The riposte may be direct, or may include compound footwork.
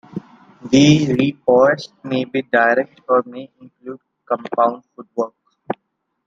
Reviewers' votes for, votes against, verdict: 2, 1, accepted